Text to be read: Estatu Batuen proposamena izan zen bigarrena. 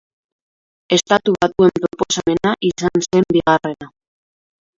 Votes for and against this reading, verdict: 1, 2, rejected